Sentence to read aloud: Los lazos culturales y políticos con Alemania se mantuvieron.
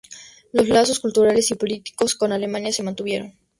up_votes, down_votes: 2, 0